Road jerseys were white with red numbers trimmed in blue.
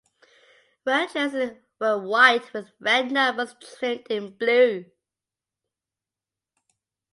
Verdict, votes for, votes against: rejected, 0, 3